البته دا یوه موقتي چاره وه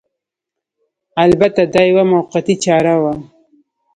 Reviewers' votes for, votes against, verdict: 2, 0, accepted